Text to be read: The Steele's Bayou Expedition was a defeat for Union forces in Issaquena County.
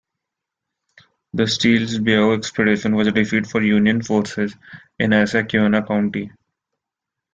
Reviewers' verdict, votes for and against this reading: rejected, 1, 2